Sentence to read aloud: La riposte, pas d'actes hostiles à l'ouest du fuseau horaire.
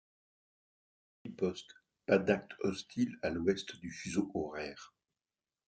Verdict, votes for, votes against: rejected, 0, 2